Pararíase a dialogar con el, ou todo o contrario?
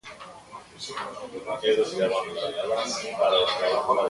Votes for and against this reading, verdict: 0, 3, rejected